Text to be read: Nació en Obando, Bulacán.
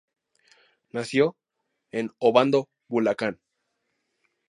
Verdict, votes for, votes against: accepted, 2, 0